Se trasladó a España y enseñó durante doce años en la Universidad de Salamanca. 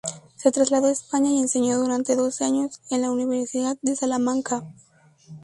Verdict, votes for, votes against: rejected, 0, 2